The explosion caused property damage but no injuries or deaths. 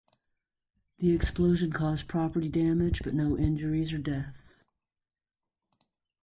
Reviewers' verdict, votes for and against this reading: accepted, 2, 0